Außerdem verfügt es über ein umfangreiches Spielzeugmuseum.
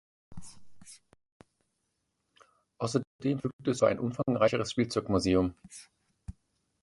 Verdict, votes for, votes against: rejected, 1, 2